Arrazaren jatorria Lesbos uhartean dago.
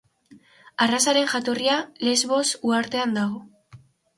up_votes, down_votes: 2, 0